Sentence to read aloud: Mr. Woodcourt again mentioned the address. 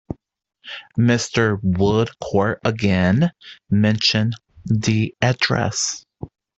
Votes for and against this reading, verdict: 2, 0, accepted